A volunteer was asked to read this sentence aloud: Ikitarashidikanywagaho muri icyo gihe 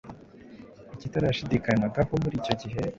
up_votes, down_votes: 3, 0